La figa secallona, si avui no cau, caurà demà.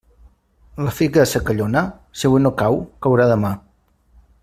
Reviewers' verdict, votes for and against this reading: rejected, 1, 2